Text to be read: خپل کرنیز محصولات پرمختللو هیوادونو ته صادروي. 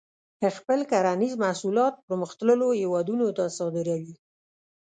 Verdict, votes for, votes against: rejected, 1, 2